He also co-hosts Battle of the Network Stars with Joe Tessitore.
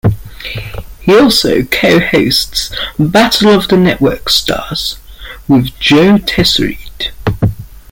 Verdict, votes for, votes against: rejected, 1, 2